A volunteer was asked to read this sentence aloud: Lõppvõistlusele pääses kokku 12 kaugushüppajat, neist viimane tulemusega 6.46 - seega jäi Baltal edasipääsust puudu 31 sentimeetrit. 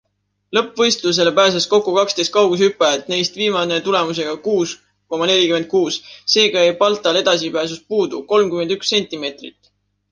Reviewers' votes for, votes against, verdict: 0, 2, rejected